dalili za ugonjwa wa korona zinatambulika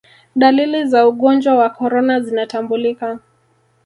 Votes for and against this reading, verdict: 1, 2, rejected